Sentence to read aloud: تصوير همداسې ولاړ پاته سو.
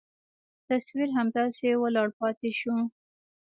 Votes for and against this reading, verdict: 2, 0, accepted